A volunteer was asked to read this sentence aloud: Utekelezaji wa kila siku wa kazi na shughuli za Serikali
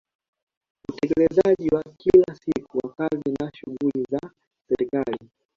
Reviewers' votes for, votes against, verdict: 2, 1, accepted